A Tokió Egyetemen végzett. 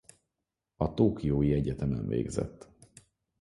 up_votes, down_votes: 0, 4